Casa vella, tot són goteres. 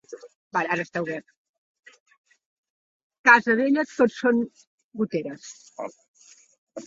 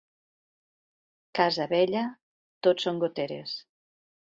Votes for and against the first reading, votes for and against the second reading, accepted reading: 0, 2, 2, 0, second